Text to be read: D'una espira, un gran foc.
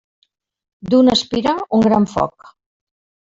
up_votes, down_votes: 2, 0